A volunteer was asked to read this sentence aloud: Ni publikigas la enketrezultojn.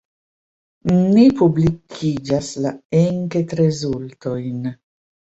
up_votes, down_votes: 0, 2